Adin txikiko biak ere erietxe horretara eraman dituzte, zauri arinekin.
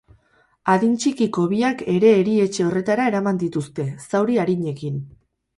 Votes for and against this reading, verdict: 2, 0, accepted